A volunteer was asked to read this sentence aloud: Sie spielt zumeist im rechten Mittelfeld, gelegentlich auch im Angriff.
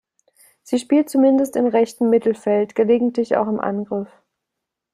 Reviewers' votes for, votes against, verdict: 0, 2, rejected